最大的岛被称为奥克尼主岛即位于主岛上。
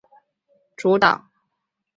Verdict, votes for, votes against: rejected, 0, 2